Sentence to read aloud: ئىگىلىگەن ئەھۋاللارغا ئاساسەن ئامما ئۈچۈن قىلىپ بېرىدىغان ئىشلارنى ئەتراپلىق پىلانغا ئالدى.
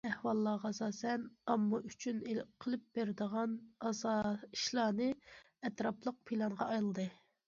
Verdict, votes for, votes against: rejected, 0, 2